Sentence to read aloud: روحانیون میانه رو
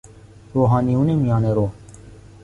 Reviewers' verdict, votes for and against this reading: accepted, 2, 0